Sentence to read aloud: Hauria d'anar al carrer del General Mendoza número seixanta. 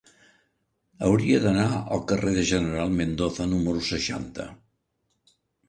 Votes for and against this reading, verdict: 2, 1, accepted